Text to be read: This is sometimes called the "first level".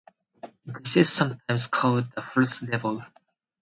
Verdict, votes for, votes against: rejected, 0, 2